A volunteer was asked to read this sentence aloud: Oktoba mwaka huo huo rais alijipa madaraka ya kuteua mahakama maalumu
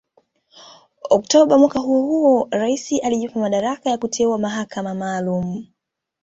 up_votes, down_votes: 2, 0